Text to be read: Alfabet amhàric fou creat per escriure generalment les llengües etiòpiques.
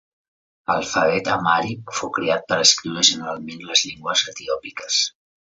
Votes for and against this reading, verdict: 1, 2, rejected